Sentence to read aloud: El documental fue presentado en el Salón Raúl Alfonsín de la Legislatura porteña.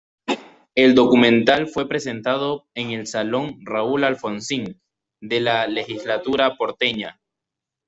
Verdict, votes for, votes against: accepted, 2, 0